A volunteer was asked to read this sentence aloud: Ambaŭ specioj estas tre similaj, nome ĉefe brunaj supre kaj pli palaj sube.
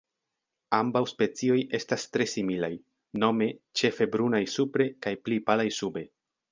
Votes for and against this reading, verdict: 2, 0, accepted